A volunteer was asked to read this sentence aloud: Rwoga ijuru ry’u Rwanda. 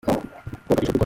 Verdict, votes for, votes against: rejected, 0, 3